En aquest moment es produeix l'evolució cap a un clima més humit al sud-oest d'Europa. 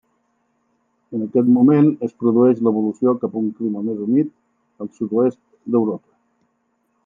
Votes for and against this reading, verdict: 3, 0, accepted